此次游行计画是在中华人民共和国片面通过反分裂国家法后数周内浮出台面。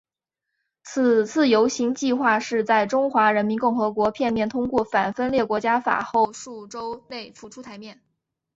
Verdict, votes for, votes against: accepted, 2, 0